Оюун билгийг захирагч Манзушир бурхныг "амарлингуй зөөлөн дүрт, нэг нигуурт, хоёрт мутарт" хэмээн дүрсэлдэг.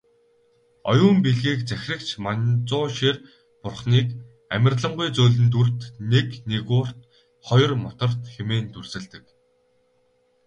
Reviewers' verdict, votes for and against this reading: rejected, 2, 2